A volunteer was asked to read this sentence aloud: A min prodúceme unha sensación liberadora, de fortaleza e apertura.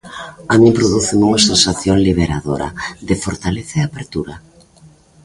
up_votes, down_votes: 2, 1